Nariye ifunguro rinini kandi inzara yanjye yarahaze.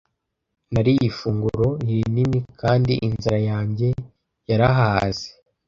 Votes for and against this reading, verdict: 1, 2, rejected